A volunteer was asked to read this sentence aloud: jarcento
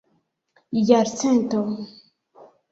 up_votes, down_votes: 0, 2